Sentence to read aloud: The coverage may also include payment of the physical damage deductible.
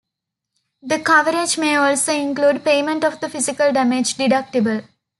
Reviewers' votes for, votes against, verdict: 2, 0, accepted